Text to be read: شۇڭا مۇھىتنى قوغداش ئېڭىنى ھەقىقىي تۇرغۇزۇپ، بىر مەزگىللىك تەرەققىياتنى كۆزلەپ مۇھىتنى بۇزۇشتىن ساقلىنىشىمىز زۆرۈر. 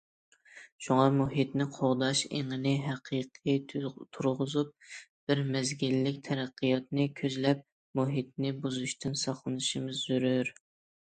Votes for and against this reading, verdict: 0, 2, rejected